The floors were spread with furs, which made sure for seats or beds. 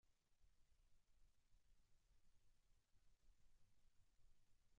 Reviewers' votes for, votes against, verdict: 0, 2, rejected